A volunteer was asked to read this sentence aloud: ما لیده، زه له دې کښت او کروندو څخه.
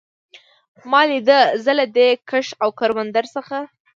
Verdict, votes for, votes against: accepted, 2, 0